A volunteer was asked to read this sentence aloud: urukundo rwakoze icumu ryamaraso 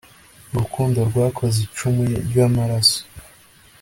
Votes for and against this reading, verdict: 2, 0, accepted